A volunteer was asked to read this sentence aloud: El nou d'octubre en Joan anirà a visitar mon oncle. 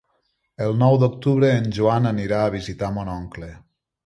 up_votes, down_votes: 3, 0